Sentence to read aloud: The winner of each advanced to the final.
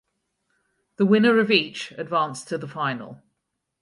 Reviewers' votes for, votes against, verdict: 4, 0, accepted